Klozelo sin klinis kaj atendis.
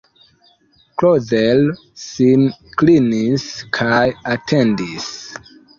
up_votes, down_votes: 0, 2